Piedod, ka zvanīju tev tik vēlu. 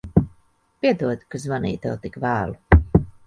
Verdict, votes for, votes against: accepted, 2, 0